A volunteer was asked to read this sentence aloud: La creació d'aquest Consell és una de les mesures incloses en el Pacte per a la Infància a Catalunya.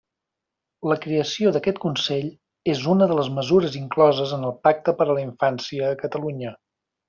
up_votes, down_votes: 3, 0